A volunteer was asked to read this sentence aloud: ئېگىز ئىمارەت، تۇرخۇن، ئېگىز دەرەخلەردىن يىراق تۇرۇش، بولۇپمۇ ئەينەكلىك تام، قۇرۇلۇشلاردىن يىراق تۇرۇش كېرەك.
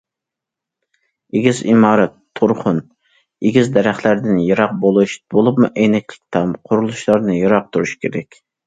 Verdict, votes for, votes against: rejected, 1, 2